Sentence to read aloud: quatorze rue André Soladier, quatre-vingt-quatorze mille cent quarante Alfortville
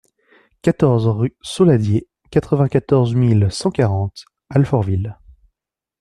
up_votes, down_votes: 1, 2